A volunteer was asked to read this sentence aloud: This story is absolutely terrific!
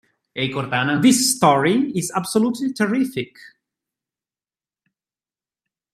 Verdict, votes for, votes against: rejected, 1, 3